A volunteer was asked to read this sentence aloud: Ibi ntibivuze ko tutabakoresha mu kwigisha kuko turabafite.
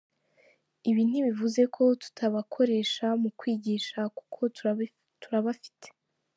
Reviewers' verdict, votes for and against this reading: rejected, 0, 2